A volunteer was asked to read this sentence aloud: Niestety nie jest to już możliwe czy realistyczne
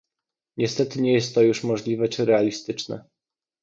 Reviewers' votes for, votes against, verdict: 2, 0, accepted